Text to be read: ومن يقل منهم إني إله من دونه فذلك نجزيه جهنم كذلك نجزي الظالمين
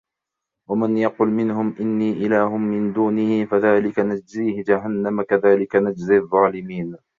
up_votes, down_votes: 1, 2